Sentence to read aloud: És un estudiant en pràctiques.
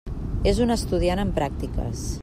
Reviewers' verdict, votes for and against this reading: accepted, 3, 0